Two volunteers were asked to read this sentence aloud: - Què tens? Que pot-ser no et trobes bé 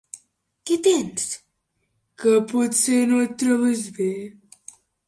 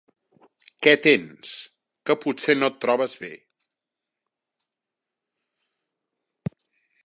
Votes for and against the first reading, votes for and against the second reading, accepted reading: 1, 2, 4, 0, second